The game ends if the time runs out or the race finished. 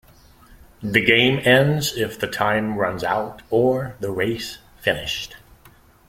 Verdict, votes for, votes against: accepted, 2, 0